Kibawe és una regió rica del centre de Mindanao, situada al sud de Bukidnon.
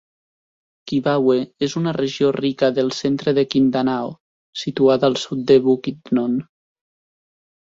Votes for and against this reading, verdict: 1, 2, rejected